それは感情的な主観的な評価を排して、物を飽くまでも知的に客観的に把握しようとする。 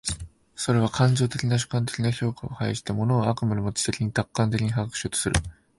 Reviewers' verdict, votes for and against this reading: rejected, 4, 5